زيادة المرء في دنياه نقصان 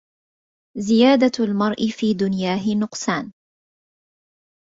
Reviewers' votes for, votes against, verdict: 0, 2, rejected